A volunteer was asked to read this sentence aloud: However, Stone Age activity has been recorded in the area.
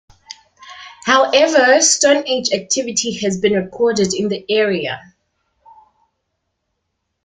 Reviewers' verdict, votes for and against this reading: accepted, 2, 0